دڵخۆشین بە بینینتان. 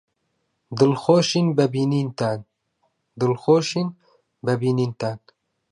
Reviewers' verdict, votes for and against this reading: rejected, 1, 2